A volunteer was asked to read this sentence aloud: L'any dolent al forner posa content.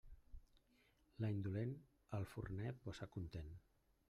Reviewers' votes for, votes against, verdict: 1, 2, rejected